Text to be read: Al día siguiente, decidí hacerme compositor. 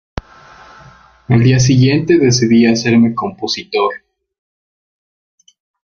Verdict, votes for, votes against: accepted, 2, 0